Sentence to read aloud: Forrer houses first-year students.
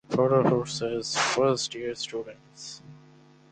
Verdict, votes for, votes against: accepted, 4, 2